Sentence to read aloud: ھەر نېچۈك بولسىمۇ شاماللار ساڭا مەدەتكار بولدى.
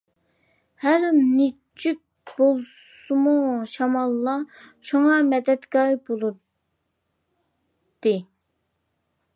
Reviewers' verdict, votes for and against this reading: rejected, 0, 2